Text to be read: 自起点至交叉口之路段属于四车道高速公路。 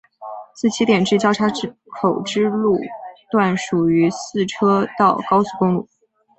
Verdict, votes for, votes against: accepted, 3, 0